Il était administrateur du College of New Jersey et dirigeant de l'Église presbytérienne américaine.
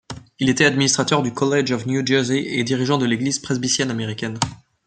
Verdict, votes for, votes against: rejected, 1, 2